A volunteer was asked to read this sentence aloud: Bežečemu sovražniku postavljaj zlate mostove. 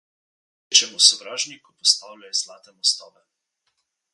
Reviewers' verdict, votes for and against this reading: rejected, 0, 2